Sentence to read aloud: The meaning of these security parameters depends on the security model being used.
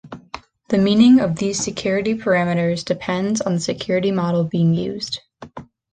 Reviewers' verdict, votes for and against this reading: accepted, 2, 0